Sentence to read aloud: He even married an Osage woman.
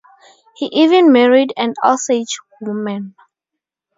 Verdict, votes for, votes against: accepted, 2, 0